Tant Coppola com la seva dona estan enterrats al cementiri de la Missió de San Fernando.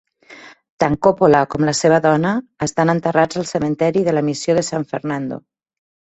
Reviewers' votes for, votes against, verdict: 1, 2, rejected